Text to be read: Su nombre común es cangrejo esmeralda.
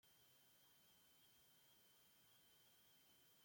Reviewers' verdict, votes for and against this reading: rejected, 0, 2